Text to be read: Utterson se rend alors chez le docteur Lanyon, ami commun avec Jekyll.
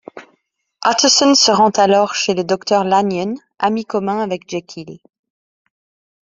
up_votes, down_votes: 2, 1